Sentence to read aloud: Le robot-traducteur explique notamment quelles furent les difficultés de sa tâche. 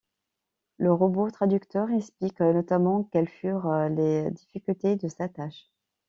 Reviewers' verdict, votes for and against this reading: accepted, 2, 0